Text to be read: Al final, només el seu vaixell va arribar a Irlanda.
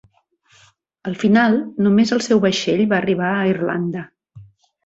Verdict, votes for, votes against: accepted, 3, 0